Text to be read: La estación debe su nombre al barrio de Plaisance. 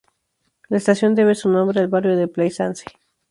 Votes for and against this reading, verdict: 0, 2, rejected